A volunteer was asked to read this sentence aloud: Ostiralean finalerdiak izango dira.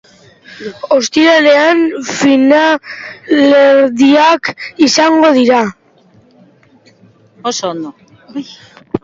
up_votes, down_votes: 0, 2